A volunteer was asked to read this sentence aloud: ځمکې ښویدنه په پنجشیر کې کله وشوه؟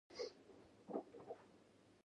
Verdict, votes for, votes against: rejected, 1, 2